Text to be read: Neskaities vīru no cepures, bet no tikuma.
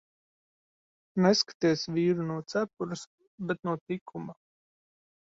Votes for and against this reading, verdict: 1, 2, rejected